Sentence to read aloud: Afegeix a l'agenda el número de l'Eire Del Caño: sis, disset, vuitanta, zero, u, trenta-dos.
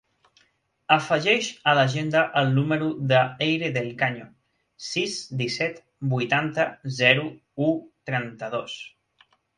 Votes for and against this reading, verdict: 1, 2, rejected